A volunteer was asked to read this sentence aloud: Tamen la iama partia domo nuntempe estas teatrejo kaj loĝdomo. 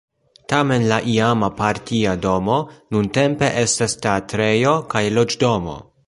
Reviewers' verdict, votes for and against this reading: accepted, 2, 0